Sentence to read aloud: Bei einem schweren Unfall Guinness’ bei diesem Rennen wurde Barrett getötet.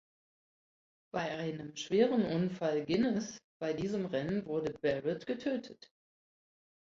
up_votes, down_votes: 0, 2